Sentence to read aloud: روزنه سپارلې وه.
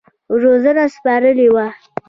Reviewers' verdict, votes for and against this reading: accepted, 2, 0